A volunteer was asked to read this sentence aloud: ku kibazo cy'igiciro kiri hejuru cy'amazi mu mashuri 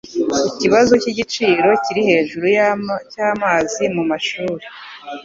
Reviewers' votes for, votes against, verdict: 0, 2, rejected